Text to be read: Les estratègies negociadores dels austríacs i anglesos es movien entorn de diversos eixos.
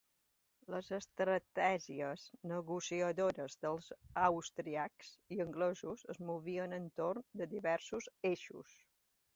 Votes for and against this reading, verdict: 1, 2, rejected